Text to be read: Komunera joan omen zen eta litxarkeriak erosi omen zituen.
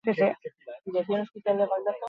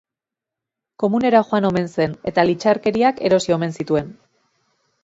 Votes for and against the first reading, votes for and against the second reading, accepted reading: 0, 4, 2, 0, second